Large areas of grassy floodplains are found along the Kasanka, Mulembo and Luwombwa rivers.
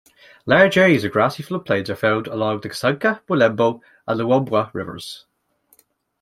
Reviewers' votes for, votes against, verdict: 1, 2, rejected